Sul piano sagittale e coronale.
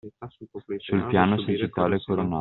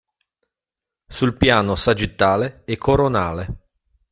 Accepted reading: second